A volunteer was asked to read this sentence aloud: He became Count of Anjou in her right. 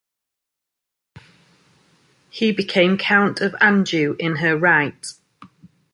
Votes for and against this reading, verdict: 2, 0, accepted